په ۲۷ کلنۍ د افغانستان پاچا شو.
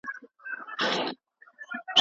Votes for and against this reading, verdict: 0, 2, rejected